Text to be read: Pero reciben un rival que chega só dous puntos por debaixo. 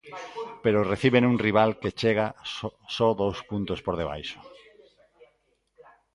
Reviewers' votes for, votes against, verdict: 0, 3, rejected